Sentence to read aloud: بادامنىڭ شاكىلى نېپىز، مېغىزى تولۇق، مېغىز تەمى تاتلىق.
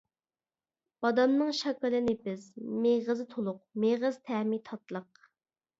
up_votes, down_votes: 2, 0